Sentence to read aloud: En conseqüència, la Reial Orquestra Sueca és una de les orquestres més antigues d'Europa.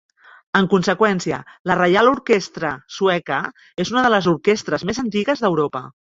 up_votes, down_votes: 0, 3